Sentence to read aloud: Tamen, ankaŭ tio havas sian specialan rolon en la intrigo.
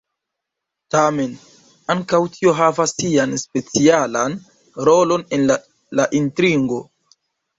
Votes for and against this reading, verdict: 0, 2, rejected